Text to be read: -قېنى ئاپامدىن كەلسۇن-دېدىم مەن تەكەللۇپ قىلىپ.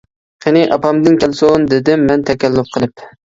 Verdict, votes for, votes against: accepted, 3, 0